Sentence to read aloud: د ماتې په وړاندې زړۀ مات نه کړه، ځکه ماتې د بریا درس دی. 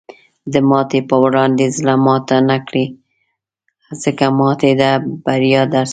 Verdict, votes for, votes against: rejected, 1, 2